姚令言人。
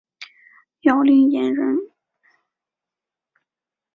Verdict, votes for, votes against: accepted, 3, 0